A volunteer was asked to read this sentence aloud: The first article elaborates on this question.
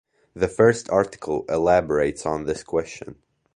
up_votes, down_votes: 2, 0